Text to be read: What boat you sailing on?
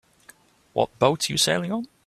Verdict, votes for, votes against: accepted, 2, 1